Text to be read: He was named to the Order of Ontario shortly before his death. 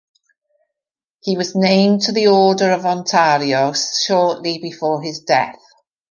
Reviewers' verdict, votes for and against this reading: accepted, 3, 0